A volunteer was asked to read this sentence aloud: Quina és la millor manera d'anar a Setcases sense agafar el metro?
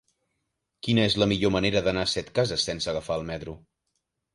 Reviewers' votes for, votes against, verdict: 0, 2, rejected